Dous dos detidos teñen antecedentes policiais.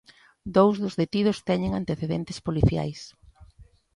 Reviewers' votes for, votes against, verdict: 2, 0, accepted